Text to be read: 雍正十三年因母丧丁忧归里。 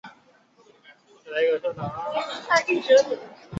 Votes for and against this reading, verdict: 0, 3, rejected